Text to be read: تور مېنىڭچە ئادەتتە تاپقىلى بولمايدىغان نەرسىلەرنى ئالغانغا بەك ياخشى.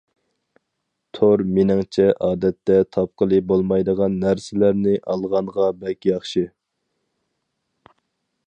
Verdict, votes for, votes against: accepted, 4, 0